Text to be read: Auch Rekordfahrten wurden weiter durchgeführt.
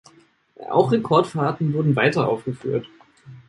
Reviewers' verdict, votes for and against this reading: rejected, 0, 2